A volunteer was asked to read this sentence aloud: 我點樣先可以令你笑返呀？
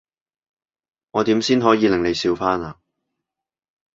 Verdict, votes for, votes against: rejected, 1, 2